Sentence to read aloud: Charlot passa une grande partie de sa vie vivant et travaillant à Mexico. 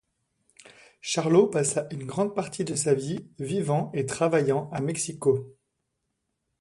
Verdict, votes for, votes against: accepted, 2, 0